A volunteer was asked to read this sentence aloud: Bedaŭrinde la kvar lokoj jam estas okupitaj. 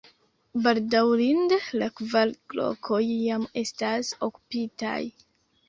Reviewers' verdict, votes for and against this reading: accepted, 2, 1